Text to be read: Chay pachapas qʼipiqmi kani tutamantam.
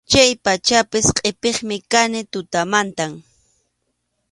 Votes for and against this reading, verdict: 2, 0, accepted